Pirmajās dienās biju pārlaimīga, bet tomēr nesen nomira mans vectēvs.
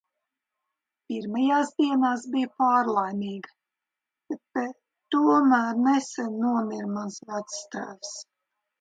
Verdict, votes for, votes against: rejected, 1, 2